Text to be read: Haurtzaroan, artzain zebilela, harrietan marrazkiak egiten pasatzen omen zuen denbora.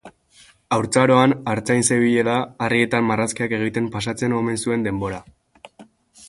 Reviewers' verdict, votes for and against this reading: accepted, 2, 0